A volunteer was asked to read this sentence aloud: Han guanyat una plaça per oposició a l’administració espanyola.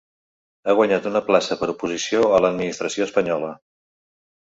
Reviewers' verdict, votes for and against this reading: rejected, 1, 2